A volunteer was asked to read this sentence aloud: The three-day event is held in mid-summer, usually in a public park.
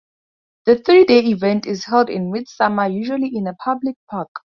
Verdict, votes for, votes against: accepted, 4, 0